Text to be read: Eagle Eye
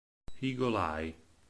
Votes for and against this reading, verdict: 4, 0, accepted